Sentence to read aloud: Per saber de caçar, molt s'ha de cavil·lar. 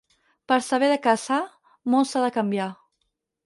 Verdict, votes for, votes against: rejected, 2, 4